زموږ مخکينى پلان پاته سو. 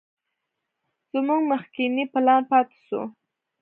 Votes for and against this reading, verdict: 2, 0, accepted